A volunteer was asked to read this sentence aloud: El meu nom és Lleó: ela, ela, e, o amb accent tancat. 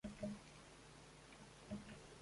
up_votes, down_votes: 0, 2